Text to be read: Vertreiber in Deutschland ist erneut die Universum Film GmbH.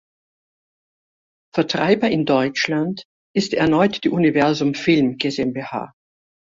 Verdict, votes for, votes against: rejected, 0, 2